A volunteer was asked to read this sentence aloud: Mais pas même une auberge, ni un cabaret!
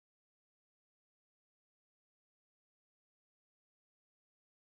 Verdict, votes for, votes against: rejected, 0, 2